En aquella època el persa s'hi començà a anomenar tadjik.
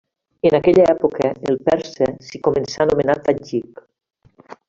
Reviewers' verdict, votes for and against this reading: accepted, 3, 0